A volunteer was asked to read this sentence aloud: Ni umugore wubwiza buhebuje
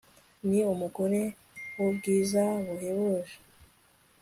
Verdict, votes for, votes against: accepted, 2, 0